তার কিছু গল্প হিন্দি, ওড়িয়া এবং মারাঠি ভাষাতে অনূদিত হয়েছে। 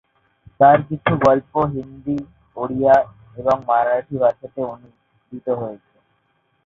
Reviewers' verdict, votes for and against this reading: rejected, 0, 2